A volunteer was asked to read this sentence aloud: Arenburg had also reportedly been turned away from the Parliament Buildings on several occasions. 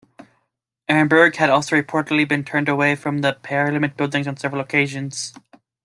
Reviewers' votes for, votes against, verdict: 2, 0, accepted